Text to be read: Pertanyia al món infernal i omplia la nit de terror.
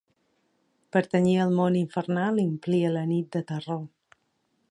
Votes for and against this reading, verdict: 2, 0, accepted